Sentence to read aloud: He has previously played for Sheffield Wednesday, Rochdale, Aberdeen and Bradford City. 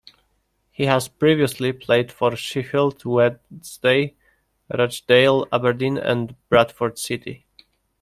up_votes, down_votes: 0, 2